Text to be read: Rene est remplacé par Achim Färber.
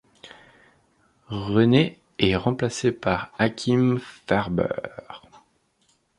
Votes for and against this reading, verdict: 0, 2, rejected